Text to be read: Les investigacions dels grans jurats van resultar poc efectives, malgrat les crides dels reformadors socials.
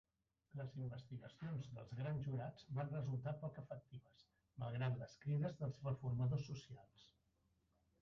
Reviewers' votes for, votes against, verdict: 0, 2, rejected